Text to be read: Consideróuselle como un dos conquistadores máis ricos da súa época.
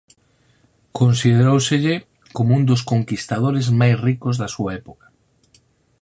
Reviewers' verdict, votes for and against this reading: accepted, 4, 0